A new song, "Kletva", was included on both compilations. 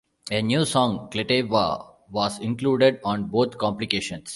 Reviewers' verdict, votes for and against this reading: rejected, 0, 2